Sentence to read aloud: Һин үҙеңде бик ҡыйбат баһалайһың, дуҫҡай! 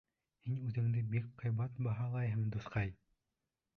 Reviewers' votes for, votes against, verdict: 1, 2, rejected